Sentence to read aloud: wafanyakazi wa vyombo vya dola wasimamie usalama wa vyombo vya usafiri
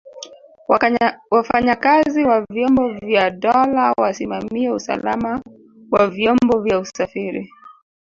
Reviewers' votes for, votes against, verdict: 1, 2, rejected